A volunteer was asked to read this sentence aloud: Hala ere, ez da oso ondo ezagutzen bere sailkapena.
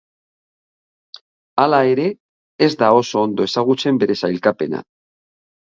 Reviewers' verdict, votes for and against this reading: accepted, 2, 1